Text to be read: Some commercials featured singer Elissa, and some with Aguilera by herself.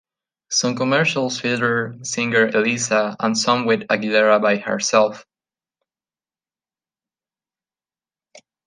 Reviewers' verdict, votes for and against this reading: rejected, 1, 2